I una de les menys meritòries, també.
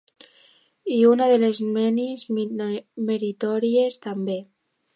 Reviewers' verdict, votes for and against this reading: rejected, 0, 2